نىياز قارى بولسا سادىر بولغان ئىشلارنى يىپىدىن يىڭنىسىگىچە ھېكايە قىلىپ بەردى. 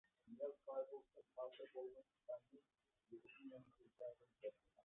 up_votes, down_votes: 0, 2